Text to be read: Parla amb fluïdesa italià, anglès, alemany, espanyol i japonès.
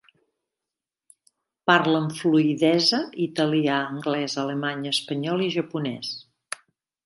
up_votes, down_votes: 0, 2